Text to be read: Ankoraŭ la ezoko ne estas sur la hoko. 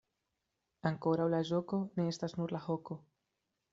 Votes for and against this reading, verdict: 0, 2, rejected